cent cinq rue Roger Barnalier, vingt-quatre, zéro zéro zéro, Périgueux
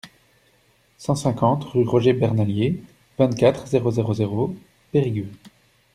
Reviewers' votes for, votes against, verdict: 0, 2, rejected